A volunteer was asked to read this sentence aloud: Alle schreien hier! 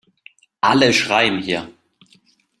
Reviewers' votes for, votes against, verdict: 2, 1, accepted